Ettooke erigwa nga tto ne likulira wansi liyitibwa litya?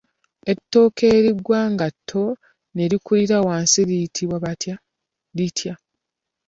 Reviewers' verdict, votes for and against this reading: rejected, 0, 2